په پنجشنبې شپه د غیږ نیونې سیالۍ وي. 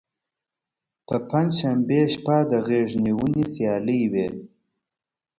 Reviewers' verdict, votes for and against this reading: accepted, 2, 1